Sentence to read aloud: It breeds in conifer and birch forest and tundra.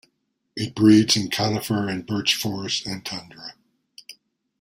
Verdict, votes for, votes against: accepted, 2, 0